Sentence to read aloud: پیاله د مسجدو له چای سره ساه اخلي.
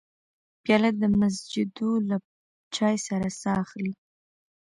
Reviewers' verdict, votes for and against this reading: rejected, 0, 2